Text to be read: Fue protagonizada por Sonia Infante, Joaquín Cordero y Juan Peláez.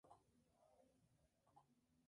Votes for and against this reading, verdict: 0, 2, rejected